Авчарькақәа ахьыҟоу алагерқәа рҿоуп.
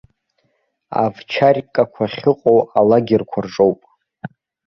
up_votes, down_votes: 2, 0